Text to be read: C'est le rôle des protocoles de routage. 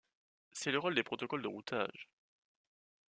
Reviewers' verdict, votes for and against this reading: accepted, 2, 0